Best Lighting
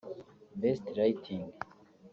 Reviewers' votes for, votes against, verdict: 2, 1, accepted